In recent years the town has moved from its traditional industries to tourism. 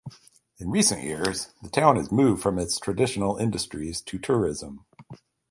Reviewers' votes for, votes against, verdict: 4, 0, accepted